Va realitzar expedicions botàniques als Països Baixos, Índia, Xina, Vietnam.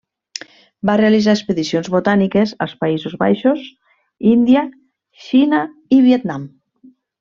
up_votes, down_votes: 1, 2